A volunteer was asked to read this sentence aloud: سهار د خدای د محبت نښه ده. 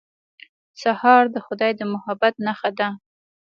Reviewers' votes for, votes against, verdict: 2, 0, accepted